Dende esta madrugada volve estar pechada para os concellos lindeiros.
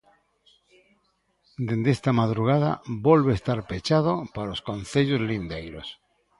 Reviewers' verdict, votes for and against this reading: accepted, 2, 0